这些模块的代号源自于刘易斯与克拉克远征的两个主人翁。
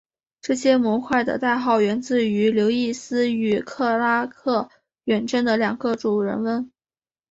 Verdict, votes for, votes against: accepted, 3, 0